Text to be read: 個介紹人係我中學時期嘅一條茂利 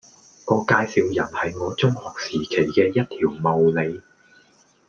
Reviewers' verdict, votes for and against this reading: accepted, 2, 0